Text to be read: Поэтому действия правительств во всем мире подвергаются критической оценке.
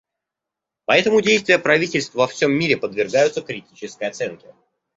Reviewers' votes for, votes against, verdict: 2, 0, accepted